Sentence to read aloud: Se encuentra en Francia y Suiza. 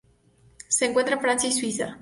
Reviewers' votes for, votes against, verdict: 2, 0, accepted